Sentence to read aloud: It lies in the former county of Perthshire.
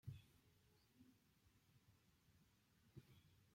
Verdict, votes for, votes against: rejected, 0, 2